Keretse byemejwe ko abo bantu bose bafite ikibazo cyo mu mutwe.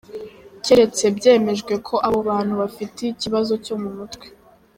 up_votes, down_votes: 1, 2